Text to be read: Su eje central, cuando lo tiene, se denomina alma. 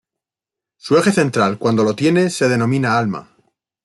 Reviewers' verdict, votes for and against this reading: accepted, 3, 1